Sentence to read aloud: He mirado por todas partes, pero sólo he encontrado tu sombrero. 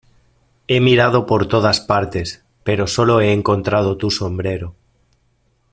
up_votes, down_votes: 2, 0